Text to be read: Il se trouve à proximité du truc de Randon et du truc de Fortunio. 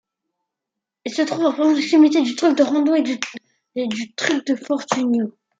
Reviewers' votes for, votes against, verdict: 0, 2, rejected